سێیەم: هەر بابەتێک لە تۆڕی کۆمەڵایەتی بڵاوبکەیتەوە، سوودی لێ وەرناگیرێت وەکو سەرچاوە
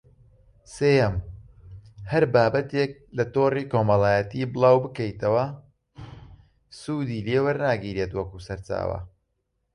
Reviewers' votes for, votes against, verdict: 2, 0, accepted